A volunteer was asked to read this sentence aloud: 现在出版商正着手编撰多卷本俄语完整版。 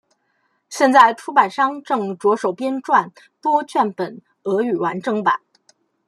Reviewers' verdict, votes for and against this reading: accepted, 2, 0